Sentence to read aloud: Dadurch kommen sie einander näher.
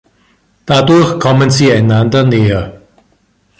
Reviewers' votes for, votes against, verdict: 2, 0, accepted